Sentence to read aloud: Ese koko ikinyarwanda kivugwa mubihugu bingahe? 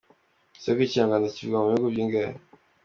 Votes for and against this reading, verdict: 2, 0, accepted